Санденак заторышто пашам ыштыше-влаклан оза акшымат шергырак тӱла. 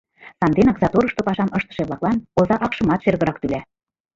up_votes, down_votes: 1, 2